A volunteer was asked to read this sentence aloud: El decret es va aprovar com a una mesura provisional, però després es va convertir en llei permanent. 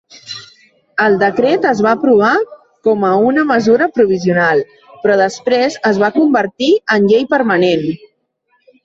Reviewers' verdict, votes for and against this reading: rejected, 1, 2